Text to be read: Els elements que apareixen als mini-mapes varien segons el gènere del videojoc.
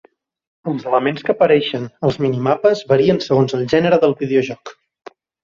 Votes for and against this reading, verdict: 2, 1, accepted